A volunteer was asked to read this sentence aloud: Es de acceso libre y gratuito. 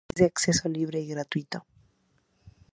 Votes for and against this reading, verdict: 2, 0, accepted